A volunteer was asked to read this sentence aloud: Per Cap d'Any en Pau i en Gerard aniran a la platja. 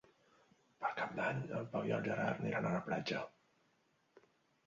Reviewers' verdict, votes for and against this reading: rejected, 0, 2